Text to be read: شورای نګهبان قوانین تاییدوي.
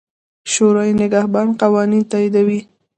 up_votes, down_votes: 2, 0